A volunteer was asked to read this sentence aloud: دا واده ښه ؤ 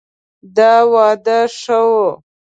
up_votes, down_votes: 2, 0